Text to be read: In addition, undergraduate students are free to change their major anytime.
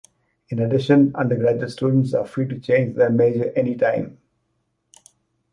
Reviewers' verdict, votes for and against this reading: accepted, 2, 0